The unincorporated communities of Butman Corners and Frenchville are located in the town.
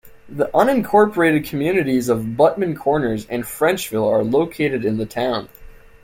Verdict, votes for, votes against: rejected, 1, 2